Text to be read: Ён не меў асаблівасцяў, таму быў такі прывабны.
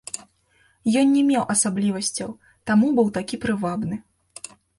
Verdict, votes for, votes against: accepted, 2, 1